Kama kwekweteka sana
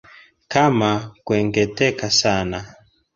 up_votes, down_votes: 2, 1